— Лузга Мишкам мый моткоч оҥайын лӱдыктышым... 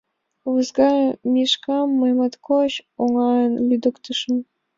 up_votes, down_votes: 2, 0